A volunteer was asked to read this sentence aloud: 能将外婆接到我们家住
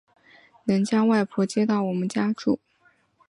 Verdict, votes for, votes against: accepted, 2, 1